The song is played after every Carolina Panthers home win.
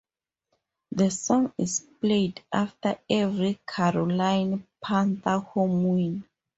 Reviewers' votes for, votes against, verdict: 2, 2, rejected